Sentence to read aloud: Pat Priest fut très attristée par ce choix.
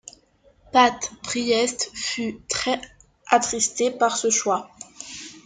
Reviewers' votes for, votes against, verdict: 0, 2, rejected